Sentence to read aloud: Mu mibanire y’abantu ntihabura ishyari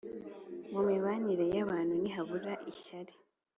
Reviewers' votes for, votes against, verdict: 2, 0, accepted